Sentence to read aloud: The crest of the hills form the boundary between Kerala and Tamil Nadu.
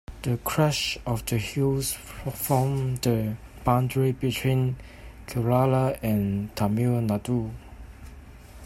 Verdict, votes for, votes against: rejected, 1, 2